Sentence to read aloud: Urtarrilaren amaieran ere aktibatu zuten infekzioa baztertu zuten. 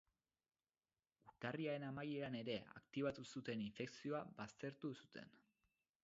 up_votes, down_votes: 2, 2